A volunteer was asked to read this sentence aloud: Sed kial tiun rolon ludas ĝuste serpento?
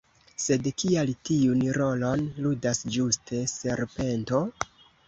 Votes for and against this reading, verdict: 1, 2, rejected